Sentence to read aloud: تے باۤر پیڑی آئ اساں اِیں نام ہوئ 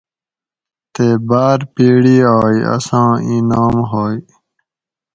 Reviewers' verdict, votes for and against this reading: accepted, 4, 0